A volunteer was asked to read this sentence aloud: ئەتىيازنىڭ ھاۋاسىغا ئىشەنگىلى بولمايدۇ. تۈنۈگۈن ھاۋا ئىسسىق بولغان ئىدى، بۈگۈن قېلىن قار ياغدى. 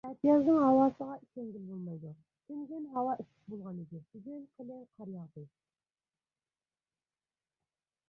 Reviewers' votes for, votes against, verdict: 0, 2, rejected